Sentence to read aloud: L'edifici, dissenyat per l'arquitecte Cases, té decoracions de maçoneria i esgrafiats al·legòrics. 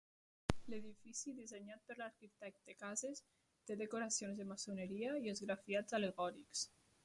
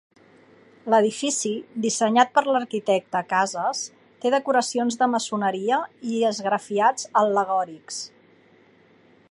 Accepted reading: second